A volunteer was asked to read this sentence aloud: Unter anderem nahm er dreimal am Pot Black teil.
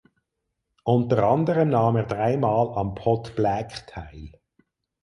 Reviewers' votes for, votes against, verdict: 4, 0, accepted